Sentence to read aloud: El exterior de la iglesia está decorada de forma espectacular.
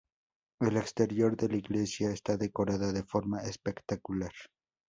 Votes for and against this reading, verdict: 2, 0, accepted